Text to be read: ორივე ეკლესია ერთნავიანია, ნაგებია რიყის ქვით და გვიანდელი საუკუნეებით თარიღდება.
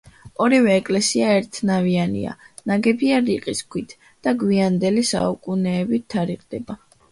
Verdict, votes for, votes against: rejected, 0, 2